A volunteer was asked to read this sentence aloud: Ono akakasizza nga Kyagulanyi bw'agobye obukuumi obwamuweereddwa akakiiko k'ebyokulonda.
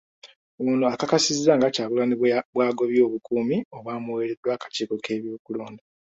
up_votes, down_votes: 1, 2